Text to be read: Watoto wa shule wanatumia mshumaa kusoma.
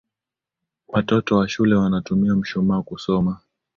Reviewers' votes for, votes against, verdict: 3, 0, accepted